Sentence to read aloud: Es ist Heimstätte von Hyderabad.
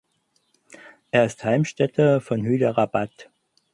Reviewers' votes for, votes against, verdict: 2, 4, rejected